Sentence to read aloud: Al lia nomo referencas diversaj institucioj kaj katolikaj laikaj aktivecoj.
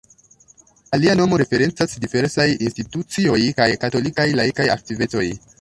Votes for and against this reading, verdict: 1, 2, rejected